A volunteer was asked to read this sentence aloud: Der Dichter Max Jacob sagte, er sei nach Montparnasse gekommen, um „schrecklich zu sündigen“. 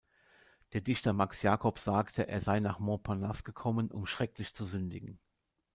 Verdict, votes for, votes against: accepted, 2, 0